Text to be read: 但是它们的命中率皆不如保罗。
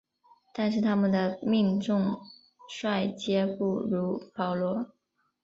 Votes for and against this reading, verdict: 1, 2, rejected